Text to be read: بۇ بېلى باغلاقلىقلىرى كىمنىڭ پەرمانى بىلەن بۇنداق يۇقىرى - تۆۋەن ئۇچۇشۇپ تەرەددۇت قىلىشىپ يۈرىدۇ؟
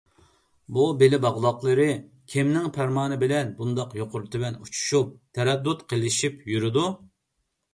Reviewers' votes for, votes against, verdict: 2, 0, accepted